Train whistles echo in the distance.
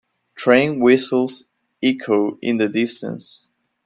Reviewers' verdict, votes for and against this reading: accepted, 3, 1